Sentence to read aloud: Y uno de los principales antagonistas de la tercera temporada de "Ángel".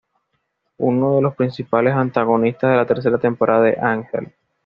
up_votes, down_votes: 1, 2